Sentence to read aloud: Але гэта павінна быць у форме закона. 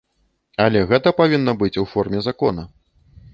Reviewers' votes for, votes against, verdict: 2, 0, accepted